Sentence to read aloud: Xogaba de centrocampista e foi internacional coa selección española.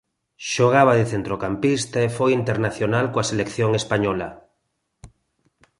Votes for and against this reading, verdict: 2, 0, accepted